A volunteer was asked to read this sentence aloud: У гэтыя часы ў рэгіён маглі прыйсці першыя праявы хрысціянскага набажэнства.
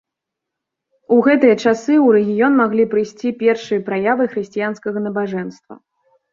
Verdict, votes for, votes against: accepted, 2, 0